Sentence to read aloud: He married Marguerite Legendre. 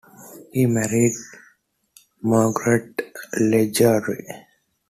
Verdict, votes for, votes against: rejected, 1, 2